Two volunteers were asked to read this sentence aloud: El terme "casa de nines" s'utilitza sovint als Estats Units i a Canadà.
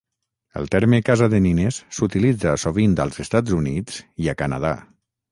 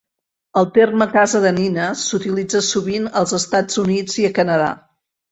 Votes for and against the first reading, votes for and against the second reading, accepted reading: 0, 3, 4, 0, second